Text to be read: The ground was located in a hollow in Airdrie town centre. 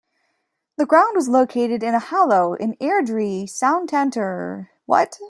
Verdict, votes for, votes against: rejected, 0, 2